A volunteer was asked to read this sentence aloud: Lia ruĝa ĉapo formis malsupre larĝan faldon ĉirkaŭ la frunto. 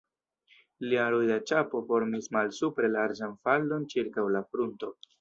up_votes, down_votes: 0, 2